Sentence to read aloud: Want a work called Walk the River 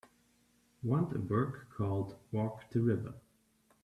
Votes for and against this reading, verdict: 2, 3, rejected